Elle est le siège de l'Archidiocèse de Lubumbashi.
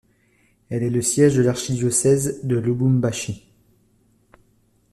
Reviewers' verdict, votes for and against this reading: accepted, 2, 0